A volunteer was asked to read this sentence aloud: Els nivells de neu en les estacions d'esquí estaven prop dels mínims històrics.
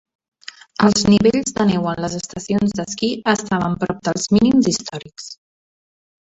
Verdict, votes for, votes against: rejected, 1, 2